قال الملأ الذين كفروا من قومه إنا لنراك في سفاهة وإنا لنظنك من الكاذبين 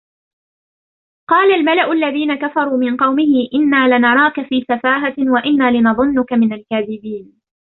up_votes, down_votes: 1, 2